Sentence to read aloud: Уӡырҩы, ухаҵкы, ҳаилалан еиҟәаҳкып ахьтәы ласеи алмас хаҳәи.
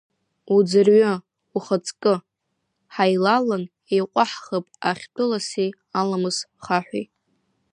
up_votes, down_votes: 1, 2